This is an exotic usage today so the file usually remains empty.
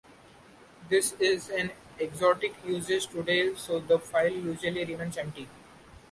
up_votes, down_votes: 2, 0